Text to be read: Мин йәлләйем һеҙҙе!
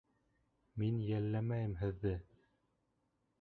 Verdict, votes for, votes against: rejected, 0, 2